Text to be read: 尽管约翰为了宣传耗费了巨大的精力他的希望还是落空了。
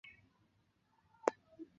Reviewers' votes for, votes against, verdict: 0, 3, rejected